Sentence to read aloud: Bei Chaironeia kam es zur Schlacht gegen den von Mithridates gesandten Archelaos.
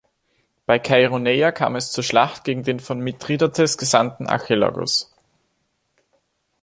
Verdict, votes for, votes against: rejected, 1, 3